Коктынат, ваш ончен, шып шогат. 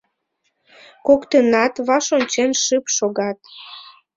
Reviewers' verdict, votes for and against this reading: rejected, 0, 2